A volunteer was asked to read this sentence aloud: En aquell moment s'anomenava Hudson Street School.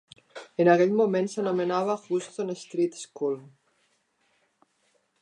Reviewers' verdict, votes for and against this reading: rejected, 1, 2